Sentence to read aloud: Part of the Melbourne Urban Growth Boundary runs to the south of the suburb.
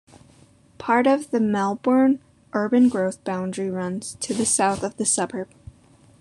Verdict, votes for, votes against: accepted, 2, 0